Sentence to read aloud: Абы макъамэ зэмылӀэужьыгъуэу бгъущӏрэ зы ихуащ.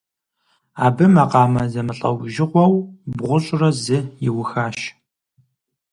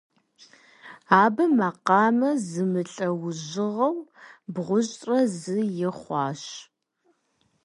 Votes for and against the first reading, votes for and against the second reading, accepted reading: 0, 4, 2, 0, second